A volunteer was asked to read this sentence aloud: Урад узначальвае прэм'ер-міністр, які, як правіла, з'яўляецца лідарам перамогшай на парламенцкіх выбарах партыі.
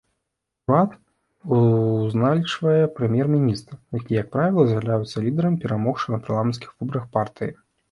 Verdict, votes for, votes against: rejected, 0, 2